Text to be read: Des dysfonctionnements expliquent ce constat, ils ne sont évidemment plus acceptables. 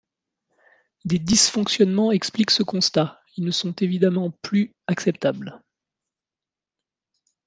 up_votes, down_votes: 1, 2